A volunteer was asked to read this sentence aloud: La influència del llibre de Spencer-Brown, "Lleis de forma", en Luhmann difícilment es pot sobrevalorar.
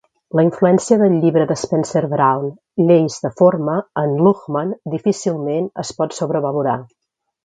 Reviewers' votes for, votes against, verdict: 2, 0, accepted